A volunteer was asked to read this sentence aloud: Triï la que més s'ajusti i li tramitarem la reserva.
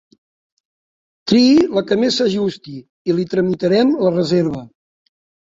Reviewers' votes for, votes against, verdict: 2, 0, accepted